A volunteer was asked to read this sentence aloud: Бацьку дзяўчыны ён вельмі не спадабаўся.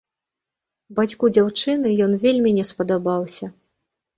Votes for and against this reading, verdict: 1, 2, rejected